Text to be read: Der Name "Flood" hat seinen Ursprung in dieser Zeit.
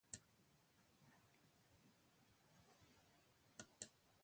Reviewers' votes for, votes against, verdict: 0, 2, rejected